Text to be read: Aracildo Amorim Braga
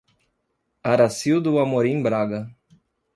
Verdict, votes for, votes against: accepted, 2, 0